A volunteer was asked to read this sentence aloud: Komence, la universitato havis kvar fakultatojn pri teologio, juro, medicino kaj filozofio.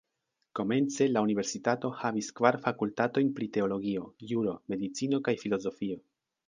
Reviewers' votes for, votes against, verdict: 1, 2, rejected